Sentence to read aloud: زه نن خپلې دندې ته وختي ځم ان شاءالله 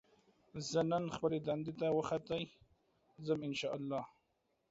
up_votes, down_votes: 1, 2